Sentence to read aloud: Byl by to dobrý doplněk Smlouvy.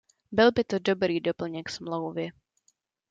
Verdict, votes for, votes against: accepted, 2, 0